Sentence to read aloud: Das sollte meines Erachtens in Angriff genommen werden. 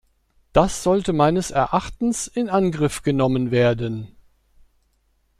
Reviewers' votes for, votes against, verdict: 2, 0, accepted